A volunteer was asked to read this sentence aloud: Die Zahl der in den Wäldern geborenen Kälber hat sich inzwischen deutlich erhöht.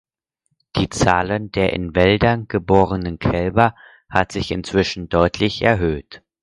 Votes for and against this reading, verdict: 0, 4, rejected